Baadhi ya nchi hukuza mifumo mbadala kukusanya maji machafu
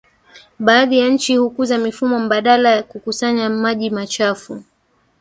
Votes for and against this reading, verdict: 1, 2, rejected